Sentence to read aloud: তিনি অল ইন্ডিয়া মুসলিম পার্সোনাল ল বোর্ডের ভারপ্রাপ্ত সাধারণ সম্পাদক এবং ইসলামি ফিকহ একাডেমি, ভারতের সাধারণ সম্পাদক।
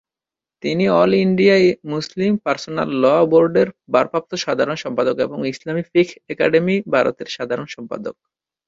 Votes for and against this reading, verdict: 2, 3, rejected